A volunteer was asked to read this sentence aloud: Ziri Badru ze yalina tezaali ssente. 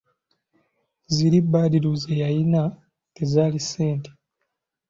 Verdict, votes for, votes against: accepted, 2, 0